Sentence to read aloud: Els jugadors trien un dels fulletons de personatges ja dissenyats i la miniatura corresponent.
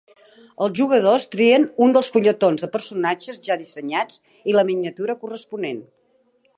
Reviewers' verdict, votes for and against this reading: accepted, 3, 0